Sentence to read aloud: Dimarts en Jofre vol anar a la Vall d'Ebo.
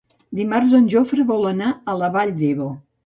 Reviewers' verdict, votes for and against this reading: accepted, 2, 0